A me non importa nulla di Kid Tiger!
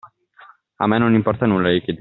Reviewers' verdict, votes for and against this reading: rejected, 0, 2